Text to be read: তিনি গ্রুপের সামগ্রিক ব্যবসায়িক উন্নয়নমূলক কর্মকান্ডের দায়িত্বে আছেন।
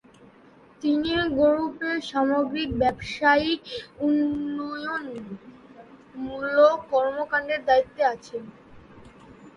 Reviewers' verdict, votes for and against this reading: rejected, 0, 2